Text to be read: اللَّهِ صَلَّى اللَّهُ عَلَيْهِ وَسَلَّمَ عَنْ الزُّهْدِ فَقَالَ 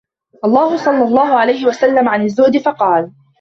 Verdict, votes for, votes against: accepted, 2, 0